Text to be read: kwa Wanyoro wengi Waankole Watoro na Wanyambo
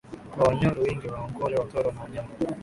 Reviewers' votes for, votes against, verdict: 0, 2, rejected